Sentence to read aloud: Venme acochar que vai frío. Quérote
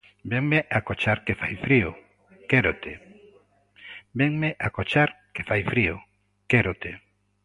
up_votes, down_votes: 0, 2